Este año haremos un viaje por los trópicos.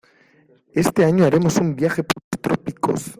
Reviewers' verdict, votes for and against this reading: rejected, 0, 2